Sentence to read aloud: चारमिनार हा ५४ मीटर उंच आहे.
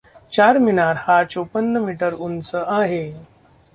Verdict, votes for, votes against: rejected, 0, 2